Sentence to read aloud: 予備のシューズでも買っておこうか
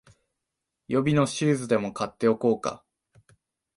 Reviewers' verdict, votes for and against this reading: accepted, 4, 0